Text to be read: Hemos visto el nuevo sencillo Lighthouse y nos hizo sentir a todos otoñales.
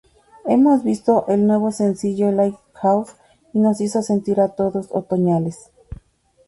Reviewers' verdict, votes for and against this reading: accepted, 2, 0